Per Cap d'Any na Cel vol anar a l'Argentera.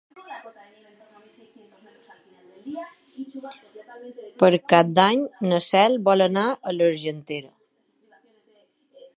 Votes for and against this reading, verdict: 0, 2, rejected